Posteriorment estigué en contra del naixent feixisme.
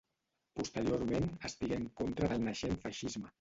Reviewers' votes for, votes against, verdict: 0, 2, rejected